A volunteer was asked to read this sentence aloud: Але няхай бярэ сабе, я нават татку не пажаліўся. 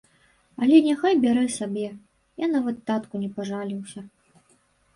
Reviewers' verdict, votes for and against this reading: accepted, 2, 0